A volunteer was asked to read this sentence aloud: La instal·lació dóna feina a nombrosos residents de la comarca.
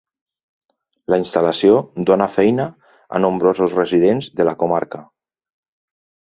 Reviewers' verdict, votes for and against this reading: accepted, 3, 0